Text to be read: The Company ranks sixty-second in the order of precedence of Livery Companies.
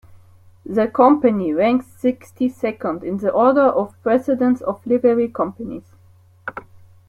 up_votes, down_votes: 2, 0